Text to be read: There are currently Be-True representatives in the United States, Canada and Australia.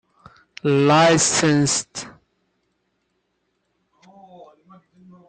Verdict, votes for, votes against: rejected, 0, 2